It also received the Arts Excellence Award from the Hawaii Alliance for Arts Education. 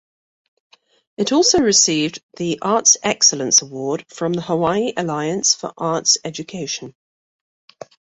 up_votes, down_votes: 2, 0